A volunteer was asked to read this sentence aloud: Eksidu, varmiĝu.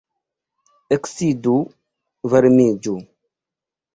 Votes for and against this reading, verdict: 1, 2, rejected